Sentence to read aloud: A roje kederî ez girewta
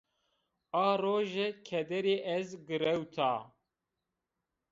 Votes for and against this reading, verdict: 1, 2, rejected